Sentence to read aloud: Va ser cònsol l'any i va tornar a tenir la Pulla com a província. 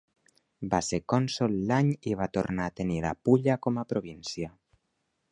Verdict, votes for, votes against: accepted, 2, 1